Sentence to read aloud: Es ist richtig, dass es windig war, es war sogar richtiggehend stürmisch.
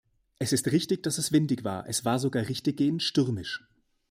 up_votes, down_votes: 2, 0